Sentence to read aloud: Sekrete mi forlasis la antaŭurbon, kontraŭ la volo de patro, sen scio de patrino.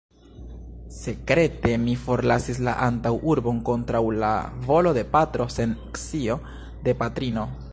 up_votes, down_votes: 0, 2